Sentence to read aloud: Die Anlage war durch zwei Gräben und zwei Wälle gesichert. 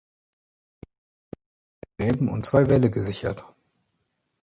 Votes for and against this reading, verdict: 0, 2, rejected